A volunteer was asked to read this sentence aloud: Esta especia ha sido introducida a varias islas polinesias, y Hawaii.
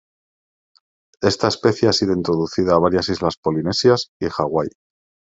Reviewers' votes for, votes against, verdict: 2, 1, accepted